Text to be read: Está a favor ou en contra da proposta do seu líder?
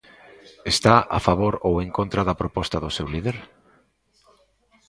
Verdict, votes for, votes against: rejected, 1, 2